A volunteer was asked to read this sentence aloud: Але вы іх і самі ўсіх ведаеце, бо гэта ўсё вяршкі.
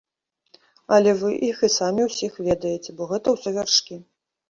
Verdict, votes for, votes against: accepted, 2, 0